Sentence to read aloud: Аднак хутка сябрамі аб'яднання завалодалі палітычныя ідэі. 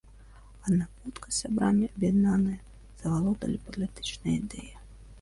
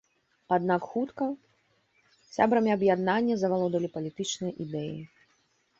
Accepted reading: second